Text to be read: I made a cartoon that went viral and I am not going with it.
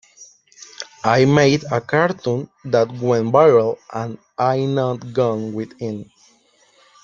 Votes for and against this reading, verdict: 1, 2, rejected